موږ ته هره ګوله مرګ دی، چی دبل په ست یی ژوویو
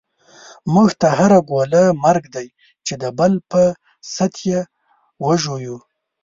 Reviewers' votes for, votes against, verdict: 2, 3, rejected